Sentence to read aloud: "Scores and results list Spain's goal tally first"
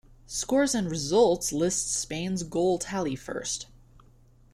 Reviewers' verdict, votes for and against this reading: accepted, 2, 1